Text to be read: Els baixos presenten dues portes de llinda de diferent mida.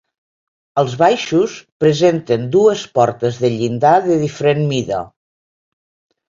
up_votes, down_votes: 2, 1